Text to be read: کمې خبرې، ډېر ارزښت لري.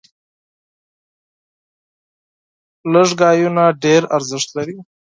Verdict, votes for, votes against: rejected, 0, 4